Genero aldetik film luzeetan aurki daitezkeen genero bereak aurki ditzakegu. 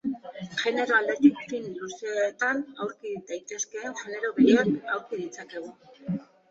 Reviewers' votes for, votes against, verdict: 1, 2, rejected